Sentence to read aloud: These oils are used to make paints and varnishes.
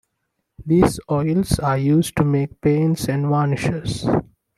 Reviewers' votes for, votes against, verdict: 2, 0, accepted